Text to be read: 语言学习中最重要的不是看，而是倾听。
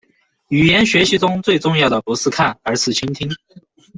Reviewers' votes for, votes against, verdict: 2, 0, accepted